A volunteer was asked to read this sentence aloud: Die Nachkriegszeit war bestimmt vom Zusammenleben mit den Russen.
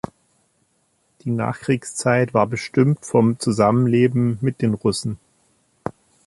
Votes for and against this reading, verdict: 2, 1, accepted